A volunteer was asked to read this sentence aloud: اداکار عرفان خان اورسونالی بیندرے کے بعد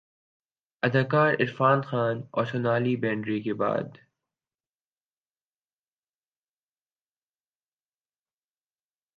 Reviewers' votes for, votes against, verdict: 3, 2, accepted